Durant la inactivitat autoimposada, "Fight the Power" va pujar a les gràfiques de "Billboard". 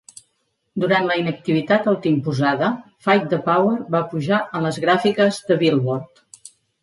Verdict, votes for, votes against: accepted, 2, 0